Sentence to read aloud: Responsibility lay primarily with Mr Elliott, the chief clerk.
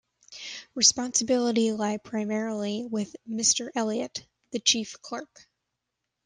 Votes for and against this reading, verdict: 1, 2, rejected